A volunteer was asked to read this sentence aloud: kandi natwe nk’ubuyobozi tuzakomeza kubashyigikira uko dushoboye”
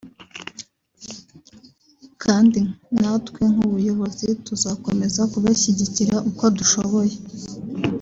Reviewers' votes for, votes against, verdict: 4, 2, accepted